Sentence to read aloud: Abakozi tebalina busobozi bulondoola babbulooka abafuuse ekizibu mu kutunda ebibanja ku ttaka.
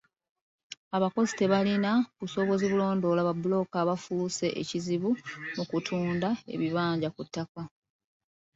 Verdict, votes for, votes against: accepted, 2, 0